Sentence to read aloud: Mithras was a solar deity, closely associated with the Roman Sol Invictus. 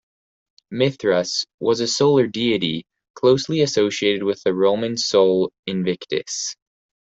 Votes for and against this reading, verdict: 2, 0, accepted